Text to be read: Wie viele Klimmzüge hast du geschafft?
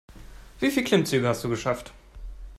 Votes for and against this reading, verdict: 1, 2, rejected